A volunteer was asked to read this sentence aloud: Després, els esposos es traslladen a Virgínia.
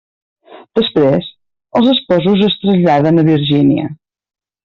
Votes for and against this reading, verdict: 1, 2, rejected